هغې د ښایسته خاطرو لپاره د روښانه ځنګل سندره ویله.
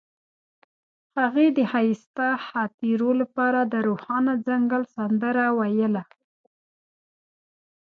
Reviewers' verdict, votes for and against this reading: accepted, 2, 0